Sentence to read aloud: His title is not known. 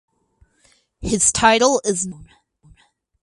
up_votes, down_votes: 0, 2